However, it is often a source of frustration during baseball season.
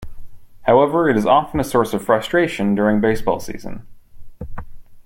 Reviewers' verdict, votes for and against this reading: accepted, 3, 0